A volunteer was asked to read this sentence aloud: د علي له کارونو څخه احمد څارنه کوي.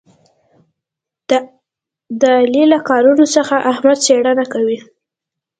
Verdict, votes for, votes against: rejected, 0, 2